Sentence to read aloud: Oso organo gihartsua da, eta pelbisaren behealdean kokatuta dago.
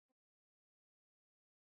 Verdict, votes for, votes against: rejected, 0, 4